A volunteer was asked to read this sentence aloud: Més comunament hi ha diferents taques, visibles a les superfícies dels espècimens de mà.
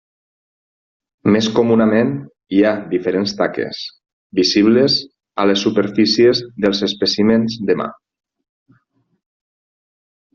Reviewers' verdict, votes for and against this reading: accepted, 3, 0